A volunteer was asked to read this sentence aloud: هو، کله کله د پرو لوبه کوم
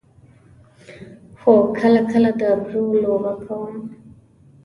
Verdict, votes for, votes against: accepted, 2, 0